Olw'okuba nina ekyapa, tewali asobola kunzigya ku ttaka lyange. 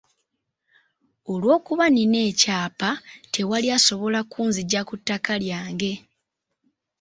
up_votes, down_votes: 3, 0